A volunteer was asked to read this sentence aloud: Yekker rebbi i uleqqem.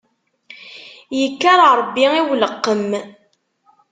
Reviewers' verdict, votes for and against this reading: accepted, 2, 0